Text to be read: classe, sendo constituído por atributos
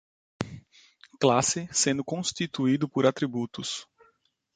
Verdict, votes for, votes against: accepted, 2, 0